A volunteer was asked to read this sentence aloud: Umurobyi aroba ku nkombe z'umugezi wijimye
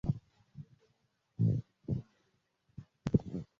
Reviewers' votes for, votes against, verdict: 0, 2, rejected